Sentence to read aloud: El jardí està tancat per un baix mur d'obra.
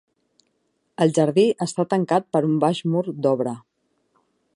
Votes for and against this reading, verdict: 2, 0, accepted